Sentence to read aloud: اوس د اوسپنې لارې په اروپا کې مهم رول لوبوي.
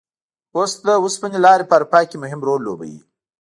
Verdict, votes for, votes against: rejected, 1, 2